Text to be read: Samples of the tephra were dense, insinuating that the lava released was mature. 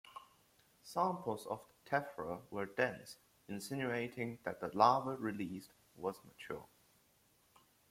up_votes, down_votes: 2, 1